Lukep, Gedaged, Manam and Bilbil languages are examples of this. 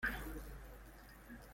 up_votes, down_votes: 0, 2